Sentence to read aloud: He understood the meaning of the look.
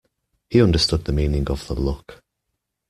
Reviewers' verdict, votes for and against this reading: accepted, 2, 0